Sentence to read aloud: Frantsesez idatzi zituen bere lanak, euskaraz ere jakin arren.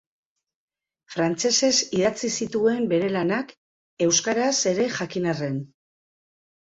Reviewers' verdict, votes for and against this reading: accepted, 2, 0